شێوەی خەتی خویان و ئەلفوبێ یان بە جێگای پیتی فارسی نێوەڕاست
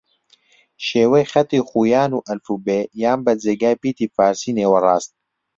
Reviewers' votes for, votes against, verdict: 2, 0, accepted